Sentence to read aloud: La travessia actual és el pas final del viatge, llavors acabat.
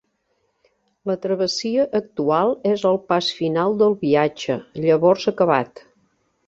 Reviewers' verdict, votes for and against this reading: accepted, 4, 0